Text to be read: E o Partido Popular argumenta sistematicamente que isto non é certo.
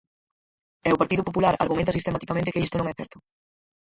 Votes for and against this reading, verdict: 0, 4, rejected